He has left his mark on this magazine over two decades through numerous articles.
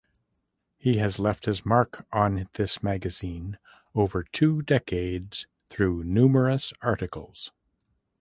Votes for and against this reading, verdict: 2, 0, accepted